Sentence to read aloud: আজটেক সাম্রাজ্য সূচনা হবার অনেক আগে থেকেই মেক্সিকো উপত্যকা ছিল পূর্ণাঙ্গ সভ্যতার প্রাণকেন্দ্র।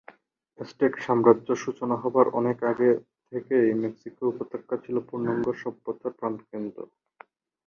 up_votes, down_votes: 2, 0